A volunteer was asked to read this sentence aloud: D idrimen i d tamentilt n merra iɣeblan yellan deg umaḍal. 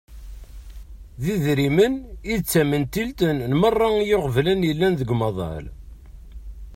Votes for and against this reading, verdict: 2, 0, accepted